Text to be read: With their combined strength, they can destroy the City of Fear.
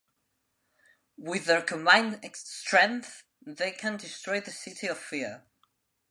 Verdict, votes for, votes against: rejected, 0, 2